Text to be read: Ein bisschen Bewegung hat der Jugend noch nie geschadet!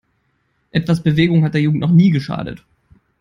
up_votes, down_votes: 0, 3